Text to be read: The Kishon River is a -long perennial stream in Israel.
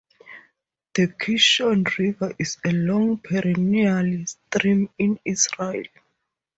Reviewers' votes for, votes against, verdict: 4, 0, accepted